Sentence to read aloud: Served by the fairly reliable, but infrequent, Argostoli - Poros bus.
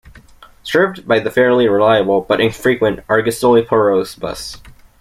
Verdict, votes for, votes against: accepted, 2, 0